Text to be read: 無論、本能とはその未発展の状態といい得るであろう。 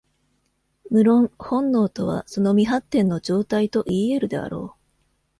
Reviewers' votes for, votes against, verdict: 2, 0, accepted